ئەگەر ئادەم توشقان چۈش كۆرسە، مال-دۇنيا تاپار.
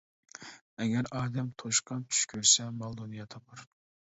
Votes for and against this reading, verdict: 2, 0, accepted